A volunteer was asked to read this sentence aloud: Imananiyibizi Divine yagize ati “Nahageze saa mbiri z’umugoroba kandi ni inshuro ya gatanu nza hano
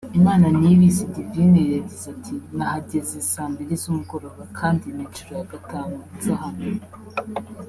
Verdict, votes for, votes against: rejected, 0, 2